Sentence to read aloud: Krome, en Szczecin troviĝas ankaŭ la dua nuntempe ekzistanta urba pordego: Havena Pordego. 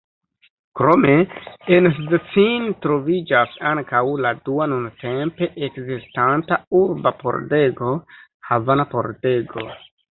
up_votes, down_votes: 1, 2